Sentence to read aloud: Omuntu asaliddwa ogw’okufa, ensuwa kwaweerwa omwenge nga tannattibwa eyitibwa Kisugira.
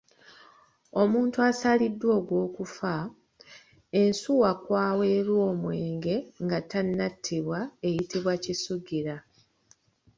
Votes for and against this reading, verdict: 2, 0, accepted